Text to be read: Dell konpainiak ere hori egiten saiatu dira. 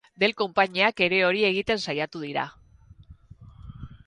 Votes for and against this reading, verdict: 2, 0, accepted